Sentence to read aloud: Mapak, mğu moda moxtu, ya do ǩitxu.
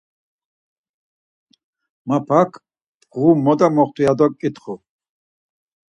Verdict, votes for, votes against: accepted, 4, 0